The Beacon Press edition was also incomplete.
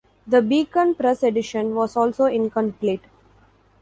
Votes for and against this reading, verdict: 2, 0, accepted